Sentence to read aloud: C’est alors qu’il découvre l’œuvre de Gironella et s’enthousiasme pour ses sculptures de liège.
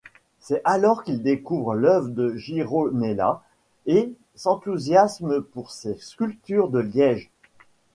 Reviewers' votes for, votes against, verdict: 2, 0, accepted